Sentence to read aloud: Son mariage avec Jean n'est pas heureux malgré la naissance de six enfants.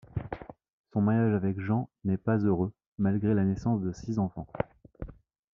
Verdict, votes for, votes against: accepted, 2, 0